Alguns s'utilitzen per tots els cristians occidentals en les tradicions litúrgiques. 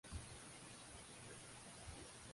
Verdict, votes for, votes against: rejected, 1, 2